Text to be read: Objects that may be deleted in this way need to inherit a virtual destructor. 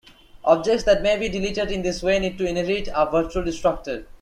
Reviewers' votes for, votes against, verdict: 2, 1, accepted